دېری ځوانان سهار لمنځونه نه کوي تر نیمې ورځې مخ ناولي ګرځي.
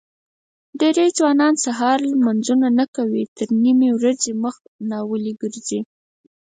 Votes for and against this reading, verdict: 2, 4, rejected